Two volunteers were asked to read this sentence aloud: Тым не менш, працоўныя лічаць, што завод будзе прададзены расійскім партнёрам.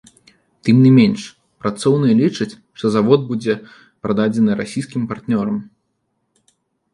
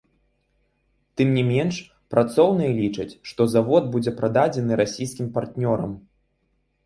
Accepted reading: second